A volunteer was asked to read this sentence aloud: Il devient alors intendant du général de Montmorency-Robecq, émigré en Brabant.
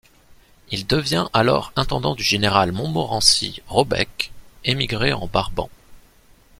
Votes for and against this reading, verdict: 0, 2, rejected